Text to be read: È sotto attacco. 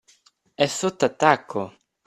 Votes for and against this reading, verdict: 2, 0, accepted